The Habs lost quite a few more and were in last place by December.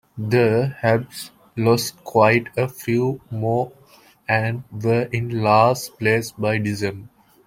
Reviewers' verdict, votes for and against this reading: accepted, 2, 0